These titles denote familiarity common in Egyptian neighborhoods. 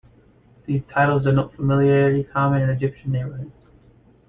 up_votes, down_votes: 2, 1